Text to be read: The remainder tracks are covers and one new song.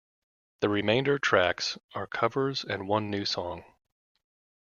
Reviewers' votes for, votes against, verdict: 2, 0, accepted